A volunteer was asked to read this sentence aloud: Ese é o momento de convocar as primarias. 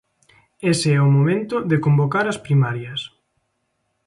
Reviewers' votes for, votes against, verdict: 2, 0, accepted